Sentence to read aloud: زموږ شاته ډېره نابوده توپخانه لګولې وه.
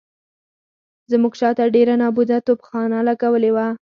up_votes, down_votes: 4, 0